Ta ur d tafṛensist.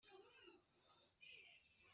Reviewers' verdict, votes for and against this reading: rejected, 1, 2